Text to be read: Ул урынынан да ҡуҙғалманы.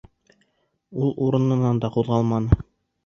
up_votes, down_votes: 2, 0